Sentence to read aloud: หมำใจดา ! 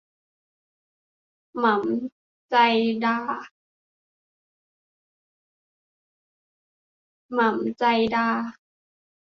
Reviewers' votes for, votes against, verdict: 0, 2, rejected